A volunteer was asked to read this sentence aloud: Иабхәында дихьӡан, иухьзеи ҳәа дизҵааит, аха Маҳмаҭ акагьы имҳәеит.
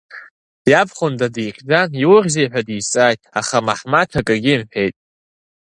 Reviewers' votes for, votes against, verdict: 3, 0, accepted